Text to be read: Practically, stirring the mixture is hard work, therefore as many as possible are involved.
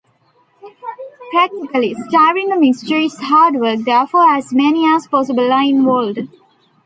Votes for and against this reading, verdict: 1, 2, rejected